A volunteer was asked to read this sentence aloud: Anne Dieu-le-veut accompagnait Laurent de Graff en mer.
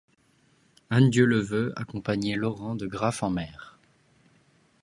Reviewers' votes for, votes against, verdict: 2, 0, accepted